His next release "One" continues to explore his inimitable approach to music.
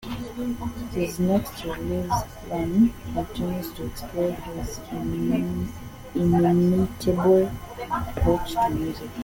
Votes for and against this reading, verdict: 0, 2, rejected